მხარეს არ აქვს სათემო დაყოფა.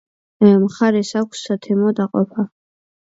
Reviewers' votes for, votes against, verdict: 2, 0, accepted